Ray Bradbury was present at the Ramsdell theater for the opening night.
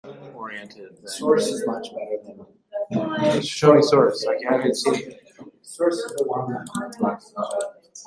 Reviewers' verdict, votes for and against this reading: rejected, 0, 2